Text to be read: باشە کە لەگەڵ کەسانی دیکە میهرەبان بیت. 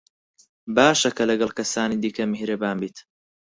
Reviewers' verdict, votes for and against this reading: accepted, 4, 0